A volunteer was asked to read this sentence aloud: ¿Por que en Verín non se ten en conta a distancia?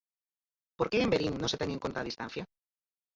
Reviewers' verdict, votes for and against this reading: rejected, 0, 4